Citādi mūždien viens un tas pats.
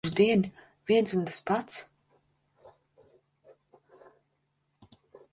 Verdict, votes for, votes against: rejected, 0, 2